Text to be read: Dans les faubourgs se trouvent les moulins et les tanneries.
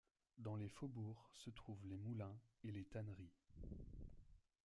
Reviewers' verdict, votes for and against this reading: accepted, 2, 0